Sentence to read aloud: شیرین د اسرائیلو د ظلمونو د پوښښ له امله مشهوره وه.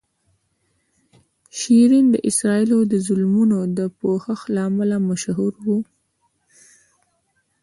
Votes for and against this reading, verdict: 1, 2, rejected